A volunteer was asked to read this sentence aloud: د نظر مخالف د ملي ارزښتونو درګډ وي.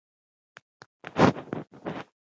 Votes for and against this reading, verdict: 1, 2, rejected